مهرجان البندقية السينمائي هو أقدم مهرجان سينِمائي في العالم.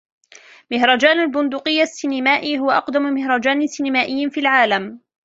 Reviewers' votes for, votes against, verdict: 2, 0, accepted